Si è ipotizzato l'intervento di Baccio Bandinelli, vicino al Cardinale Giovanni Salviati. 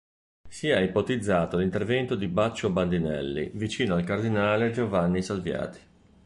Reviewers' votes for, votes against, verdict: 2, 0, accepted